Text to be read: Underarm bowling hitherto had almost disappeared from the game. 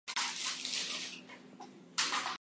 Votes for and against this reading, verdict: 0, 4, rejected